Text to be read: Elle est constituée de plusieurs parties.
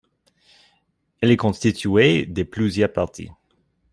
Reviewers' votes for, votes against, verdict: 1, 2, rejected